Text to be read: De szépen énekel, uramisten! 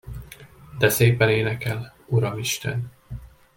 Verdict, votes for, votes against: accepted, 2, 0